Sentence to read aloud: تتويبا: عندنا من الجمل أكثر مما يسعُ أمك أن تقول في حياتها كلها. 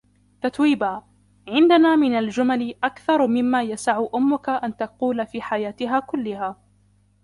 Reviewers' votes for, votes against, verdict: 2, 1, accepted